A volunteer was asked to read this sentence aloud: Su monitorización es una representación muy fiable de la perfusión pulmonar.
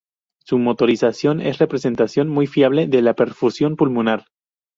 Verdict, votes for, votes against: rejected, 2, 2